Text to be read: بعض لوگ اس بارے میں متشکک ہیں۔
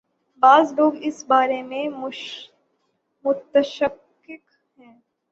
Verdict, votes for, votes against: rejected, 0, 6